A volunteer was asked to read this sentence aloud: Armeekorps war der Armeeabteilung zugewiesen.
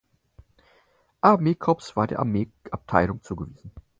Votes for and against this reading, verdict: 2, 4, rejected